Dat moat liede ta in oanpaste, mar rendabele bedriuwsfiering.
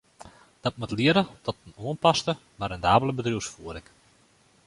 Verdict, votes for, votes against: rejected, 0, 2